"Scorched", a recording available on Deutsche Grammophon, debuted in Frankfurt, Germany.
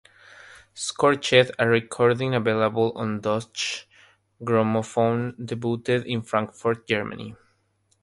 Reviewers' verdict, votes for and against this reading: accepted, 3, 0